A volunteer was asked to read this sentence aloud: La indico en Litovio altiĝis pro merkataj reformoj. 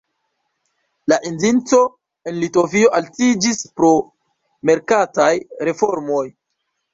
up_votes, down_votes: 1, 2